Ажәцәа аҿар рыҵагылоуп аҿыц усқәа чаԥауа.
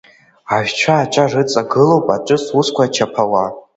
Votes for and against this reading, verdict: 2, 0, accepted